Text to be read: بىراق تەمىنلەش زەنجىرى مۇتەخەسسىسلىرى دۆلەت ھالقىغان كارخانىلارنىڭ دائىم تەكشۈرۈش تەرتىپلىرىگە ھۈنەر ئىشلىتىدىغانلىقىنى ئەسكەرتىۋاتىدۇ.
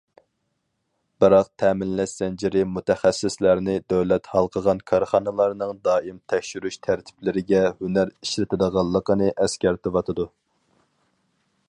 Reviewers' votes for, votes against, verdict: 0, 4, rejected